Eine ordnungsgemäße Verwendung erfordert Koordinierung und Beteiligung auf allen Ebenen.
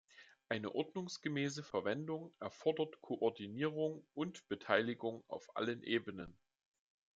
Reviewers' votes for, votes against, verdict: 2, 1, accepted